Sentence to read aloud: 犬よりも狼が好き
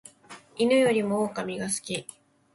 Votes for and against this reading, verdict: 2, 0, accepted